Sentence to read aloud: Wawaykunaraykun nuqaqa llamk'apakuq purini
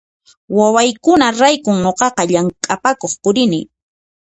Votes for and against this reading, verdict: 2, 0, accepted